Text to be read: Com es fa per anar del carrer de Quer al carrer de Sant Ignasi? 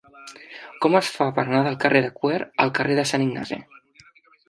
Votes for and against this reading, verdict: 1, 2, rejected